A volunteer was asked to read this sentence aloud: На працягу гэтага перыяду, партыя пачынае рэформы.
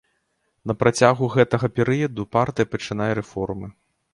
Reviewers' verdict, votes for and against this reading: accepted, 2, 0